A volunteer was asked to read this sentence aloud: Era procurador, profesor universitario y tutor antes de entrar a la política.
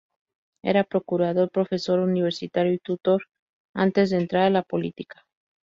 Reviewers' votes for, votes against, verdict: 2, 0, accepted